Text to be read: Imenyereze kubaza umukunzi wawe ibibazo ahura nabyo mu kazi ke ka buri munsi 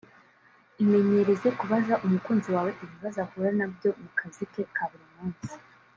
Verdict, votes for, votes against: rejected, 0, 2